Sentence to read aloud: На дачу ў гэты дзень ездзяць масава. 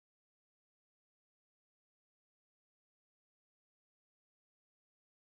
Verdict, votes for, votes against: rejected, 0, 2